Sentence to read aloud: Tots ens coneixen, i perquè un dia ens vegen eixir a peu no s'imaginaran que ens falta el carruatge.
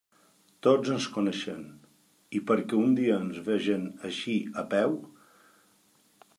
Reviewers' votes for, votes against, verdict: 0, 2, rejected